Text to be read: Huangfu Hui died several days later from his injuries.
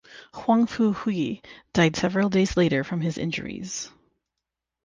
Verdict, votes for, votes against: accepted, 6, 0